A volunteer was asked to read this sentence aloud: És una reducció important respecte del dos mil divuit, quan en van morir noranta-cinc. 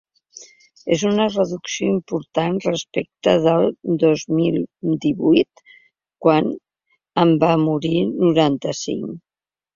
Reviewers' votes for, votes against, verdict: 4, 0, accepted